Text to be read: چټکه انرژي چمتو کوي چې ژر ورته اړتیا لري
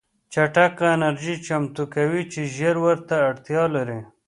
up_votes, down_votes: 2, 0